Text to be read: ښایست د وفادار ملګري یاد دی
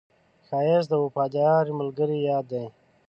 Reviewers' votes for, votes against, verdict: 2, 0, accepted